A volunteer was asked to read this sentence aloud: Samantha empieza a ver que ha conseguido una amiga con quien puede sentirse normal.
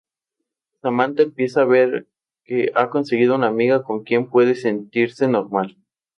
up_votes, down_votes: 0, 2